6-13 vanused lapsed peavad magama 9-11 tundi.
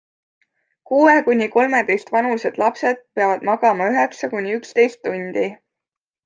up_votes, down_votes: 0, 2